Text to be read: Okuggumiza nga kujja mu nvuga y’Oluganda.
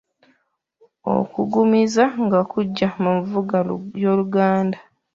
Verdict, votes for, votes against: rejected, 0, 2